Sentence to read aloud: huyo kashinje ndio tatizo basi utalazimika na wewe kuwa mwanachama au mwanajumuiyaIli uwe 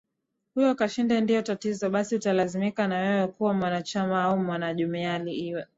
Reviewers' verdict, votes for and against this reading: rejected, 0, 2